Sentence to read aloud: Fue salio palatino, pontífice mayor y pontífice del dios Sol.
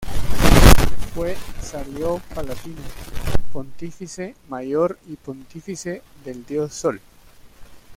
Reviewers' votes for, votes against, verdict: 2, 0, accepted